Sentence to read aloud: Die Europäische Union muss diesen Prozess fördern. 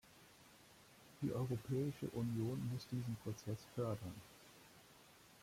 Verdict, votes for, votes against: accepted, 2, 1